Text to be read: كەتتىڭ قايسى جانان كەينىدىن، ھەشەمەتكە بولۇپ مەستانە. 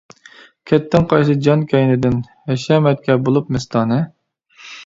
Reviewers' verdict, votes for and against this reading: rejected, 0, 2